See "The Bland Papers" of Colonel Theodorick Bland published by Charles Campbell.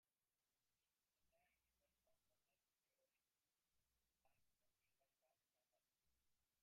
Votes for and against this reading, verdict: 0, 2, rejected